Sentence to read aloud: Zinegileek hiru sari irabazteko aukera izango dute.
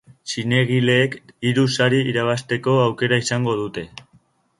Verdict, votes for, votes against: accepted, 3, 0